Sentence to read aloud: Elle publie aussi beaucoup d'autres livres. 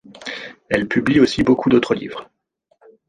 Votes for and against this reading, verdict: 2, 0, accepted